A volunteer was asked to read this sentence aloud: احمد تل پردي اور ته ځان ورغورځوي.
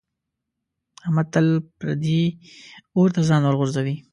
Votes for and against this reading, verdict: 2, 0, accepted